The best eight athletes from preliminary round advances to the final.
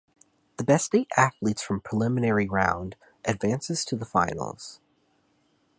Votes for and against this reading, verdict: 0, 2, rejected